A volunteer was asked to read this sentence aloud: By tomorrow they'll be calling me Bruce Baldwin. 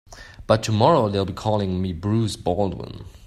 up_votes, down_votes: 2, 0